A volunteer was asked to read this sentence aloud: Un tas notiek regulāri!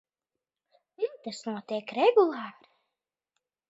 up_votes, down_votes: 1, 2